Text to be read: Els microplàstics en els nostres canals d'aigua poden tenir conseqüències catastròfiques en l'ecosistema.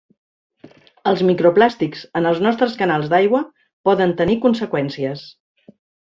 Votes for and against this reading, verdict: 0, 2, rejected